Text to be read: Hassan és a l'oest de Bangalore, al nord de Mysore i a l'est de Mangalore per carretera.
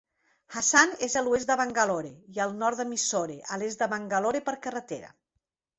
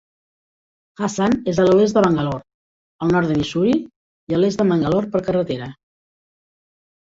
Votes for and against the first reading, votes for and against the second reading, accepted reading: 1, 2, 3, 0, second